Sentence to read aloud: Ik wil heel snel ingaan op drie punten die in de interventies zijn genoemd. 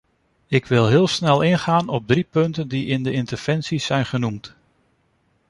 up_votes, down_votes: 2, 0